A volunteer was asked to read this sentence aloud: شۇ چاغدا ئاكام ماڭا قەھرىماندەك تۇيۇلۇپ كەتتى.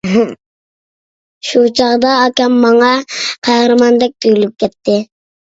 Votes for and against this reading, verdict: 0, 2, rejected